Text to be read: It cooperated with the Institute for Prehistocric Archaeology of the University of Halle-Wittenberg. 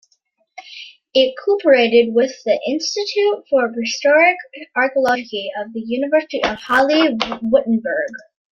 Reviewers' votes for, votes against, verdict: 1, 2, rejected